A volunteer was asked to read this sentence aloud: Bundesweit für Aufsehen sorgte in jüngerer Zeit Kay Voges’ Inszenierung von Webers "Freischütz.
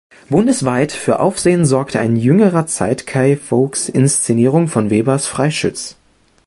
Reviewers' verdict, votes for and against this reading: rejected, 0, 2